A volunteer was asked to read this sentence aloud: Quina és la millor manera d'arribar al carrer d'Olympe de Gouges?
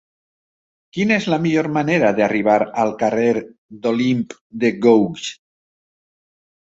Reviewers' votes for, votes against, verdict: 2, 0, accepted